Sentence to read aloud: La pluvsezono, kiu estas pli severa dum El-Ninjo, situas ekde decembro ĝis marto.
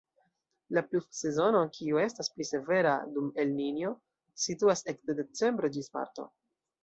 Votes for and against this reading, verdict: 2, 0, accepted